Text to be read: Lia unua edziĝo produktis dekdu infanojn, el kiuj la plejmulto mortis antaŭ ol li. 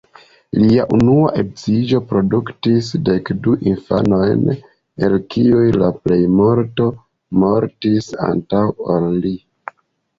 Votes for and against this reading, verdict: 0, 2, rejected